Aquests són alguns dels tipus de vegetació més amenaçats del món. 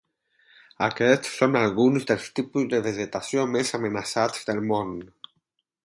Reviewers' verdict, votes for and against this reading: accepted, 4, 0